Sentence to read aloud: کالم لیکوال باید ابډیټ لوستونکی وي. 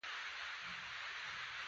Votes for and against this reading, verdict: 0, 2, rejected